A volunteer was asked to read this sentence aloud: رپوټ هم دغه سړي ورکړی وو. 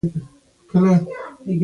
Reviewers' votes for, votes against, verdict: 0, 2, rejected